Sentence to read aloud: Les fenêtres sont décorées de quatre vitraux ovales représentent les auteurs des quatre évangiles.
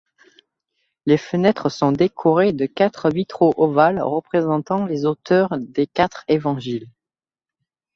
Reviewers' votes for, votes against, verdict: 1, 2, rejected